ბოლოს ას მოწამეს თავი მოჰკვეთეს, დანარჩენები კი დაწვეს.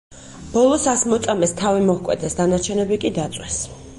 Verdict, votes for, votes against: accepted, 6, 0